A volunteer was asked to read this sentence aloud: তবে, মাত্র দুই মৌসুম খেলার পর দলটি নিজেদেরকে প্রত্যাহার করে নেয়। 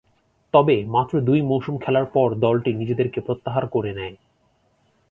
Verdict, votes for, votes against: accepted, 3, 0